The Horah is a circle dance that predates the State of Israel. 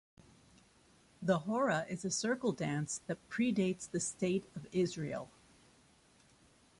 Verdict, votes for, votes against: accepted, 2, 0